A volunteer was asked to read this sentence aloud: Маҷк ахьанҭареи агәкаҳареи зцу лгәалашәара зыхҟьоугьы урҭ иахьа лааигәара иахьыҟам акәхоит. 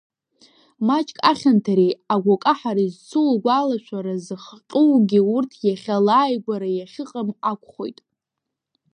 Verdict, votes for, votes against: rejected, 0, 2